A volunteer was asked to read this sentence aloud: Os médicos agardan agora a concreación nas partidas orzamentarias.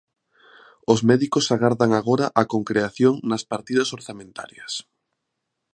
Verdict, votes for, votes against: accepted, 2, 0